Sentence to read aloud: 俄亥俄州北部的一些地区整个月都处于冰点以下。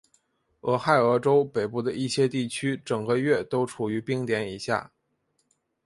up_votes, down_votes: 3, 0